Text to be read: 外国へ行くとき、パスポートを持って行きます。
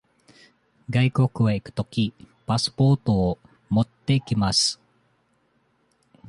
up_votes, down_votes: 2, 0